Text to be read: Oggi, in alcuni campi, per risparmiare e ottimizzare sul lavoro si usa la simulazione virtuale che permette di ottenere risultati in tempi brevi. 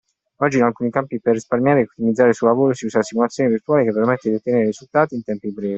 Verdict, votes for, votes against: accepted, 2, 0